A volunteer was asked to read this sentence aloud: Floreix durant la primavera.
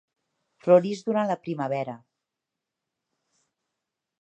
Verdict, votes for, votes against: accepted, 2, 0